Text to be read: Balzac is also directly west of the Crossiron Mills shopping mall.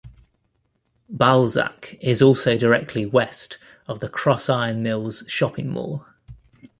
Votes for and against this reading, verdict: 2, 0, accepted